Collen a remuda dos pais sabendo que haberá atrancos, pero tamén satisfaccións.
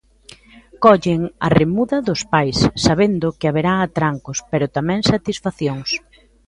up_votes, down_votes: 2, 0